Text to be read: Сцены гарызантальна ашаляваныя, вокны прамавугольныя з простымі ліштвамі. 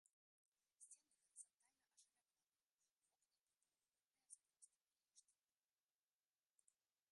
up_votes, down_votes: 0, 2